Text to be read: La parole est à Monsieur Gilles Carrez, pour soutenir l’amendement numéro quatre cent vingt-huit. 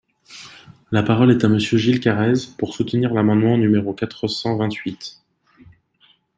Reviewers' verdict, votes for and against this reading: accepted, 2, 0